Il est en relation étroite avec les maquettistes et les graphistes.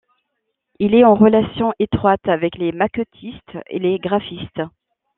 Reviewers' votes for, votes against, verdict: 2, 1, accepted